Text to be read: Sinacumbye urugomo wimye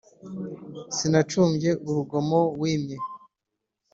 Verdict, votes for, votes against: accepted, 2, 0